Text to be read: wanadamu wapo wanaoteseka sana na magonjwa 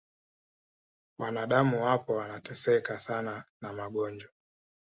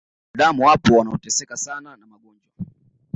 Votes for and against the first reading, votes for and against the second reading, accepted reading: 2, 1, 1, 2, first